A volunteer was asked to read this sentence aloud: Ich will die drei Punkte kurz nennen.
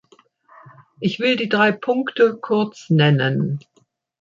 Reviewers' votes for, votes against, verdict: 2, 0, accepted